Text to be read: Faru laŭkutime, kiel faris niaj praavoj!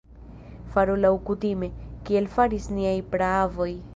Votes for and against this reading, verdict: 2, 1, accepted